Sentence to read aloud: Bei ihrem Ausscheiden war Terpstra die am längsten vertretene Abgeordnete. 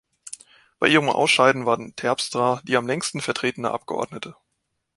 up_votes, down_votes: 2, 1